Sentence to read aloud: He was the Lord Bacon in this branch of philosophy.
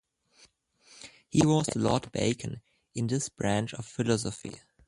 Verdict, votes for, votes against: rejected, 0, 2